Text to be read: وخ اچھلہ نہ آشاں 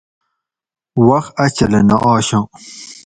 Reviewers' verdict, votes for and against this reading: accepted, 2, 0